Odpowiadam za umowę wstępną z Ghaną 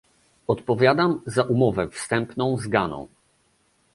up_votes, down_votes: 2, 0